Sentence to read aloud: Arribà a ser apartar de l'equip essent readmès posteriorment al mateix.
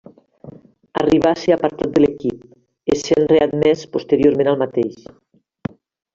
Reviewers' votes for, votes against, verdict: 2, 0, accepted